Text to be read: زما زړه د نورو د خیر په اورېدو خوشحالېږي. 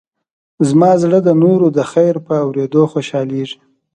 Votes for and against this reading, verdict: 2, 0, accepted